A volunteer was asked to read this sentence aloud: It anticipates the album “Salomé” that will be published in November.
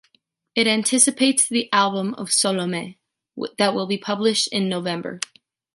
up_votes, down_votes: 1, 2